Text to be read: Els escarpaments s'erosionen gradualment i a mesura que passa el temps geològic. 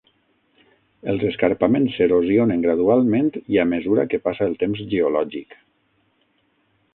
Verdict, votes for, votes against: accepted, 12, 0